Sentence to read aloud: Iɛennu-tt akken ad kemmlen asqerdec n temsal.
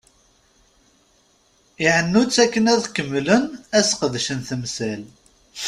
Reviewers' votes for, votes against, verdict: 0, 2, rejected